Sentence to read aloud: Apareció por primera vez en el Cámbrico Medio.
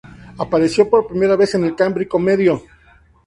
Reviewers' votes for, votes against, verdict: 2, 0, accepted